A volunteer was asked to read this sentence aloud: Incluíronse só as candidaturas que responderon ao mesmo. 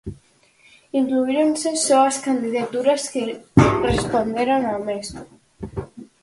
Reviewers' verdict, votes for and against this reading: accepted, 4, 0